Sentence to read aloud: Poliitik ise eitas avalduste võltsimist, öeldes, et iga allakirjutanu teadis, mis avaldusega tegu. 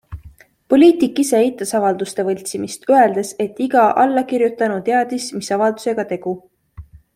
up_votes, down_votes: 2, 0